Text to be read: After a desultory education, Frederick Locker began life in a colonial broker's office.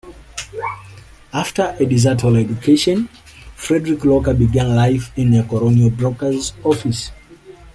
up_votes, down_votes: 2, 1